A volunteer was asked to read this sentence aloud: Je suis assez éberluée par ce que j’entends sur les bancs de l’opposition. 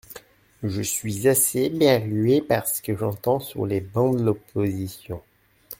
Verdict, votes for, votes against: rejected, 1, 2